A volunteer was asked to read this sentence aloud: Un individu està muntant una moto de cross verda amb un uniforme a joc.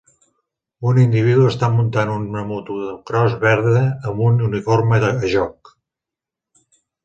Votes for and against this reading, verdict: 1, 2, rejected